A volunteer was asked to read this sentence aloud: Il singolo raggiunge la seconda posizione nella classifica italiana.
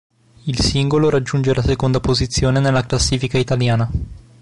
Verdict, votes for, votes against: accepted, 2, 0